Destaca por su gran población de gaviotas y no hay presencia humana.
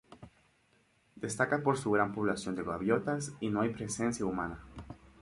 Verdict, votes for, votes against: accepted, 2, 0